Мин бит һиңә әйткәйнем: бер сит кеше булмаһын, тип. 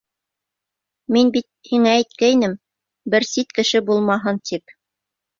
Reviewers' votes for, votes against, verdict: 2, 0, accepted